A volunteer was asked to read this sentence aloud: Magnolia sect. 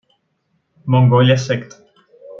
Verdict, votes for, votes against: rejected, 1, 2